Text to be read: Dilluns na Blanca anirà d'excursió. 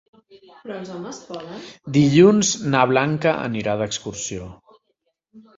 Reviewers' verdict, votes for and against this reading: rejected, 0, 2